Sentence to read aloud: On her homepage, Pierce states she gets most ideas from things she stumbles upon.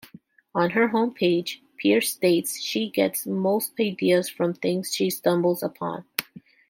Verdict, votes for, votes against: accepted, 2, 0